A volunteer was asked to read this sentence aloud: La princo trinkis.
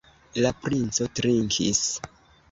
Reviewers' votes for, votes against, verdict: 2, 1, accepted